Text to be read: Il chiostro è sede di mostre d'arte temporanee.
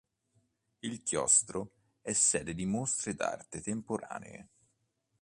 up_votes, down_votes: 2, 0